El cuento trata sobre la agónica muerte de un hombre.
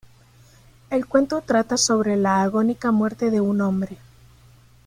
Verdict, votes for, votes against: accepted, 2, 0